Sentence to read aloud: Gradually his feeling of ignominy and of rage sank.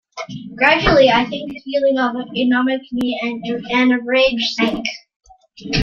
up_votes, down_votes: 1, 2